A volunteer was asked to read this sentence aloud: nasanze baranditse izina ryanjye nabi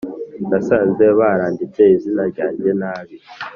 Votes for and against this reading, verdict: 4, 1, accepted